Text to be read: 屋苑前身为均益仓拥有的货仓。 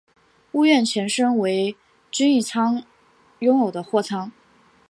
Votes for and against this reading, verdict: 2, 0, accepted